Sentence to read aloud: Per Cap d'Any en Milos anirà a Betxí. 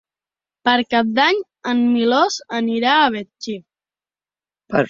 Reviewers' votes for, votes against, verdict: 1, 2, rejected